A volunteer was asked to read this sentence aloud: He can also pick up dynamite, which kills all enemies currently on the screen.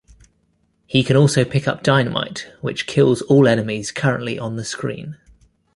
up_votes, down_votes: 2, 0